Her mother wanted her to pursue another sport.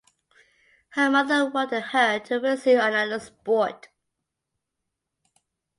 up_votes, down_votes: 1, 2